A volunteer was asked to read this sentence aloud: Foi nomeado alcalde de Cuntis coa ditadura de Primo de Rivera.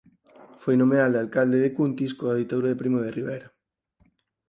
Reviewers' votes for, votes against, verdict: 6, 4, accepted